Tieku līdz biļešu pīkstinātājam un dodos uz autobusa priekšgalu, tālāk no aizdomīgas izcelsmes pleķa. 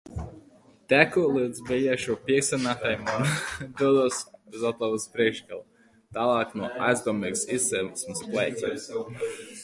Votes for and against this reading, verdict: 0, 2, rejected